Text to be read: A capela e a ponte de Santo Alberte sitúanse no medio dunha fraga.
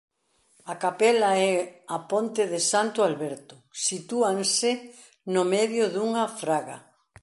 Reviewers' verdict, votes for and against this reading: accepted, 2, 0